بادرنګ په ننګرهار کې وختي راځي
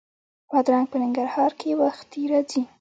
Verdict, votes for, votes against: accepted, 2, 0